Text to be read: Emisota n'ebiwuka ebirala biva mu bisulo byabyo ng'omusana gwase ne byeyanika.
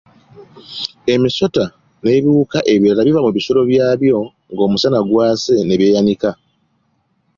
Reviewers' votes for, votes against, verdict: 2, 0, accepted